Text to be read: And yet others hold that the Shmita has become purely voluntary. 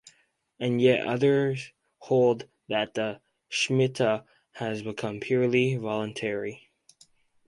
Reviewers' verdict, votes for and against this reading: accepted, 4, 0